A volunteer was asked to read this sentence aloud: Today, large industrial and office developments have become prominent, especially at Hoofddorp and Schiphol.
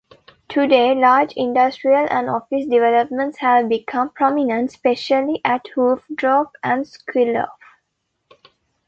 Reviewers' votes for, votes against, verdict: 0, 2, rejected